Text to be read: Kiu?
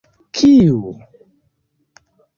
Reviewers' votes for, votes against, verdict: 2, 0, accepted